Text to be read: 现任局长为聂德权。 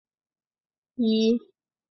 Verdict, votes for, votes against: rejected, 0, 3